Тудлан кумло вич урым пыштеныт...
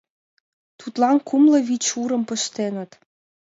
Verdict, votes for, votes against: accepted, 2, 0